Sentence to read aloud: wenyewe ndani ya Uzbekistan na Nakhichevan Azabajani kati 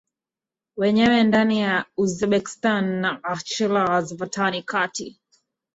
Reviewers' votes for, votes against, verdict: 1, 2, rejected